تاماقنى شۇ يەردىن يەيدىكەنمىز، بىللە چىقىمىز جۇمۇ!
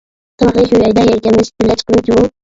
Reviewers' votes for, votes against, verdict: 0, 2, rejected